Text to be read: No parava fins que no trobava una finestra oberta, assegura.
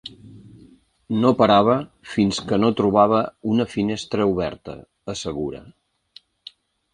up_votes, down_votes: 3, 0